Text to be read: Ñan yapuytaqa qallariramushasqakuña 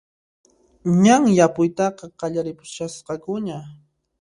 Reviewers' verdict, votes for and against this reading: rejected, 1, 2